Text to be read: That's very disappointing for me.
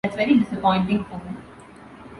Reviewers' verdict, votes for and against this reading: rejected, 1, 2